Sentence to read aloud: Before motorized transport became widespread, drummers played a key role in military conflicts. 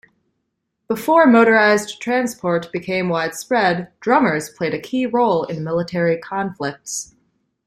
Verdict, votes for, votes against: accepted, 2, 0